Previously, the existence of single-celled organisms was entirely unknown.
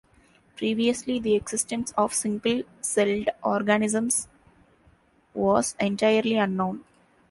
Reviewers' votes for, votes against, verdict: 2, 1, accepted